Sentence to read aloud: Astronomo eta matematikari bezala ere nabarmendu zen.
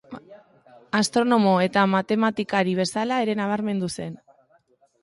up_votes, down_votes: 2, 0